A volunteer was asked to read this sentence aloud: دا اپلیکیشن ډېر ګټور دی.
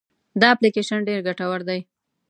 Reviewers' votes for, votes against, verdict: 1, 2, rejected